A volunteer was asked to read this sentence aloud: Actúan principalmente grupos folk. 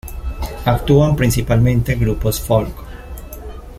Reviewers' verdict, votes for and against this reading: accepted, 2, 0